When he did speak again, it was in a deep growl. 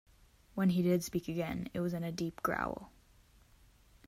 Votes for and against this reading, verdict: 2, 0, accepted